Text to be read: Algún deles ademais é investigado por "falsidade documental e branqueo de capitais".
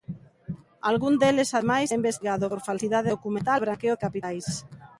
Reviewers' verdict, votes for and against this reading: rejected, 0, 2